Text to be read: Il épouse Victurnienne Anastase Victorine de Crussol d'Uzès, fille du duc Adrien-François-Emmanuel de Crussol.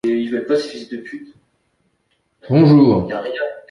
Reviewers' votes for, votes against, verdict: 0, 2, rejected